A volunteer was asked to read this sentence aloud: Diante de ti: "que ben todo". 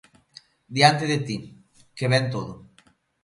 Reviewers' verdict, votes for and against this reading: accepted, 2, 0